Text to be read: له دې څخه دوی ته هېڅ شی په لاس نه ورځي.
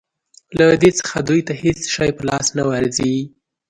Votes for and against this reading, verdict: 2, 0, accepted